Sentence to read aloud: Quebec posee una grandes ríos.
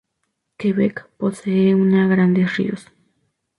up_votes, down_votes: 2, 0